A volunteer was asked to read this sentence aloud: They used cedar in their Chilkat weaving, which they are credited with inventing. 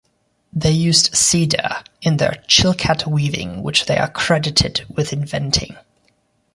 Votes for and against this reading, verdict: 2, 0, accepted